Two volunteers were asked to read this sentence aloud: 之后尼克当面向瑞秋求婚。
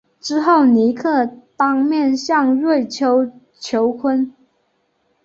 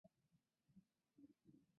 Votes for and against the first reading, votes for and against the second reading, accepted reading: 6, 0, 0, 2, first